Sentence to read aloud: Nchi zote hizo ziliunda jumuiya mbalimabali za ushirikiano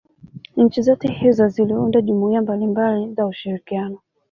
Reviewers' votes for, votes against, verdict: 1, 2, rejected